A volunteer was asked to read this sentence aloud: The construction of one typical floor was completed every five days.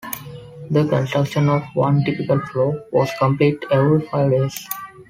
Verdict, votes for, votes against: accepted, 2, 1